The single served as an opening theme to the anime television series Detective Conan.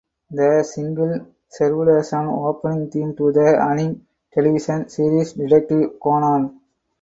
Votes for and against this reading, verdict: 6, 0, accepted